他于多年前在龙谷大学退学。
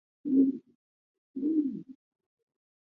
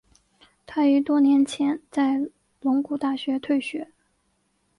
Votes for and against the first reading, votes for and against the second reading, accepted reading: 1, 2, 2, 0, second